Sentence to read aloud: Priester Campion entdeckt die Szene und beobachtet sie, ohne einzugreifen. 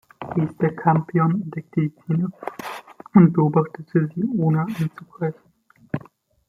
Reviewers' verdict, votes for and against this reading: rejected, 1, 2